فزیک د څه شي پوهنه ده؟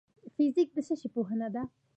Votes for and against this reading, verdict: 2, 1, accepted